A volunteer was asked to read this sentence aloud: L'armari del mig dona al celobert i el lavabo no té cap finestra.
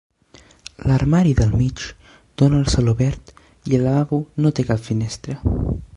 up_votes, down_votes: 2, 0